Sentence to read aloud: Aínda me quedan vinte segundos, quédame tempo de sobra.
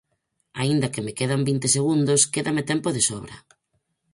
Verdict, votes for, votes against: rejected, 2, 4